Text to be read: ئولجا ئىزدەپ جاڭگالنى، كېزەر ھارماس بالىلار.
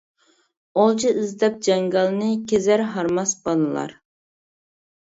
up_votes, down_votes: 2, 0